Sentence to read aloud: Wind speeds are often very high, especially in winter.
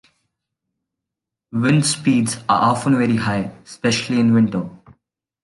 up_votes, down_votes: 2, 1